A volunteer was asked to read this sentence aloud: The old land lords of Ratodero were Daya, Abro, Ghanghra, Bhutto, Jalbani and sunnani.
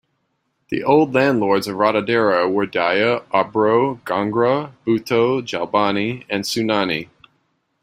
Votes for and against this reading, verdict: 3, 0, accepted